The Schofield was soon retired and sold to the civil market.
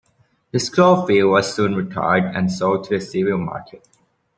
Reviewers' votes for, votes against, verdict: 2, 1, accepted